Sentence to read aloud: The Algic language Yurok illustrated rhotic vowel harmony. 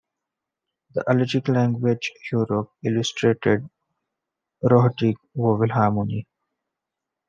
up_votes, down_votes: 2, 1